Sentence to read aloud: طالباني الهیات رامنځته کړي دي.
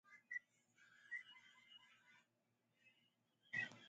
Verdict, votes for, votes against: rejected, 0, 2